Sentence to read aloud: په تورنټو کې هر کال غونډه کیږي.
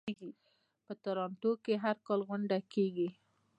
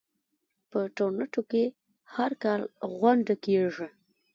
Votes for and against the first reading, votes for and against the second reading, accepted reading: 2, 0, 0, 2, first